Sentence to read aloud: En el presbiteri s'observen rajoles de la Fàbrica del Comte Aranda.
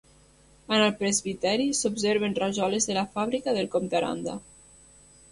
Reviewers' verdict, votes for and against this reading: accepted, 3, 0